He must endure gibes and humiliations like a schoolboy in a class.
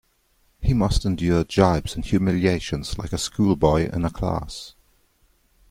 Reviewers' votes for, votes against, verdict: 2, 0, accepted